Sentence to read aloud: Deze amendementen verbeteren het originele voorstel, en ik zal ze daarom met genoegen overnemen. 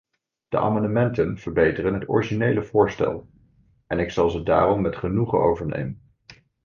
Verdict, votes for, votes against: rejected, 1, 2